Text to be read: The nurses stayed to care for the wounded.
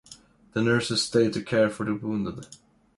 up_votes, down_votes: 2, 0